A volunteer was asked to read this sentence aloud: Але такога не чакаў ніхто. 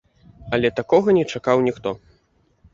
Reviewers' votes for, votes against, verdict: 2, 0, accepted